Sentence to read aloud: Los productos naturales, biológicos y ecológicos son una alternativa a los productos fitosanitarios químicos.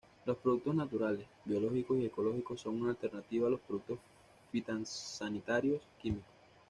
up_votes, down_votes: 1, 2